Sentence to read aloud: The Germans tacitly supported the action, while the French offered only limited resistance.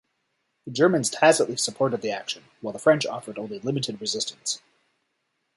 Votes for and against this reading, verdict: 2, 3, rejected